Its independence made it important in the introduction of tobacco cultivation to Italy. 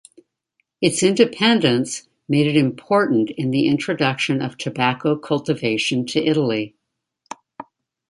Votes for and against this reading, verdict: 2, 0, accepted